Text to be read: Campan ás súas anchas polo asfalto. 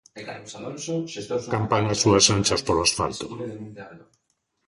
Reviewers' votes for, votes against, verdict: 0, 2, rejected